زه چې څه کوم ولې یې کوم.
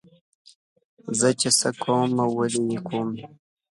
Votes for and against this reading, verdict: 2, 0, accepted